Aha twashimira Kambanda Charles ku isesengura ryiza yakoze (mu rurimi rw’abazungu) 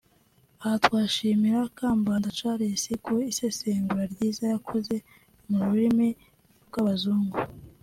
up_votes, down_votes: 3, 0